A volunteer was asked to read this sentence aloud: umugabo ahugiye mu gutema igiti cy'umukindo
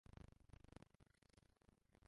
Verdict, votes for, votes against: rejected, 0, 2